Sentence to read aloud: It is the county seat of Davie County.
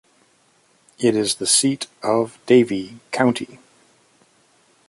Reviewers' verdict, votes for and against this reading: rejected, 0, 2